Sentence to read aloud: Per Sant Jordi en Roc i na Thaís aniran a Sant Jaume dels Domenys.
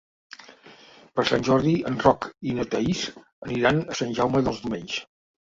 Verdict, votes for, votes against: accepted, 2, 1